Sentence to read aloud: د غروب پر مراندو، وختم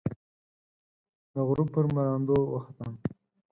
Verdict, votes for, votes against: accepted, 4, 0